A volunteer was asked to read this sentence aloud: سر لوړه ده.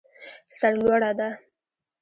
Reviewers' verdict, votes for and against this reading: rejected, 1, 2